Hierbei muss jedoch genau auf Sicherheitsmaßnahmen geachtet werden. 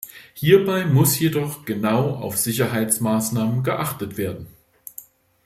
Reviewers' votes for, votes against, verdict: 2, 0, accepted